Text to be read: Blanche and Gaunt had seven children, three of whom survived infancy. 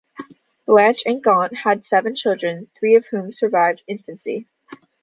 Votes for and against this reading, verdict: 2, 1, accepted